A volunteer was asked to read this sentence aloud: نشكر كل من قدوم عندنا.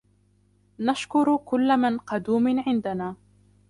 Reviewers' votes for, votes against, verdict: 2, 1, accepted